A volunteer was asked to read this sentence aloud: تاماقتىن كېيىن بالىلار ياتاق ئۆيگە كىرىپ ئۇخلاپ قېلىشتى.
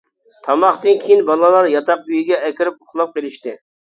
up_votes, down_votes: 0, 2